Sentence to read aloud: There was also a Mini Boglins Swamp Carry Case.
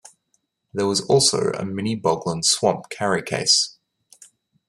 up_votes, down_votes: 2, 0